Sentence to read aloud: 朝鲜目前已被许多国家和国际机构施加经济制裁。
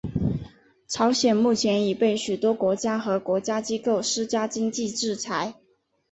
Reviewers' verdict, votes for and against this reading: accepted, 2, 1